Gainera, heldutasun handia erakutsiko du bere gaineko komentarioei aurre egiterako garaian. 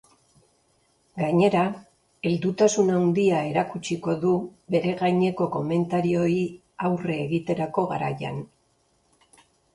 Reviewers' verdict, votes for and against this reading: rejected, 1, 2